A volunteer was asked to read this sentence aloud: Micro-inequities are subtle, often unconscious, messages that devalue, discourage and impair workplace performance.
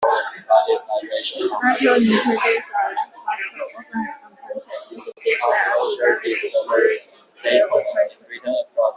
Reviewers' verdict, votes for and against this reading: rejected, 1, 2